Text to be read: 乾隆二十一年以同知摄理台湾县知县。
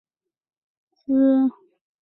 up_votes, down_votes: 0, 2